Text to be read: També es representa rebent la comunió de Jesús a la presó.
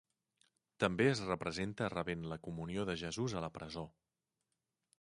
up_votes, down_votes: 2, 0